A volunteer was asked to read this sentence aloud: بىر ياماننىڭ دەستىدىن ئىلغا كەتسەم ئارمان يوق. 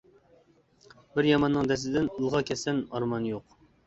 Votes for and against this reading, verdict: 2, 0, accepted